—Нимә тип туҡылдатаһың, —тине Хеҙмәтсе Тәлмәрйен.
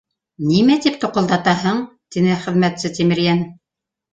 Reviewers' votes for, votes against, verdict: 1, 2, rejected